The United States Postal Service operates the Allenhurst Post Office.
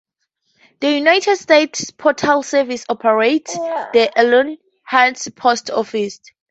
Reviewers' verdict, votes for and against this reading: accepted, 2, 0